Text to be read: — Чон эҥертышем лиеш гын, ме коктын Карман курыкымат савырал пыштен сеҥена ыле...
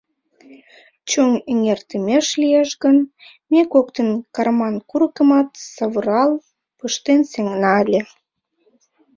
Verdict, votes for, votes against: rejected, 1, 2